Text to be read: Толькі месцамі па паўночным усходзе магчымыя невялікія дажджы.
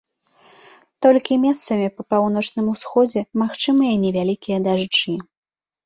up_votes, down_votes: 2, 0